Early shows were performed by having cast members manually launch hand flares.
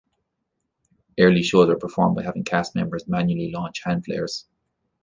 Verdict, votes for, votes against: accepted, 2, 1